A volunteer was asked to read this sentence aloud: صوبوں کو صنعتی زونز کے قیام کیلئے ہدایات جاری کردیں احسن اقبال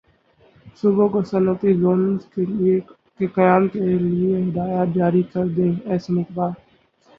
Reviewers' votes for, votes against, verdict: 6, 8, rejected